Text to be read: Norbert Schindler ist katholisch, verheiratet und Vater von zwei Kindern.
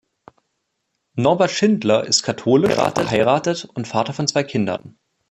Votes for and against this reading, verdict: 0, 2, rejected